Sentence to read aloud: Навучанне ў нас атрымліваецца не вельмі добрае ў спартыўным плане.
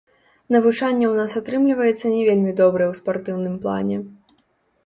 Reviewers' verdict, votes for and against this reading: rejected, 1, 2